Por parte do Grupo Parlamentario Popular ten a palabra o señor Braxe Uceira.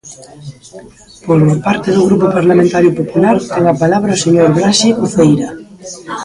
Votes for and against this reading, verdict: 0, 2, rejected